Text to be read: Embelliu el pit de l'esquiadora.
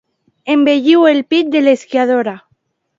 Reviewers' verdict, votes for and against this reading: accepted, 2, 0